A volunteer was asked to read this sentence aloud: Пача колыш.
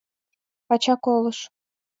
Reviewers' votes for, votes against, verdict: 2, 0, accepted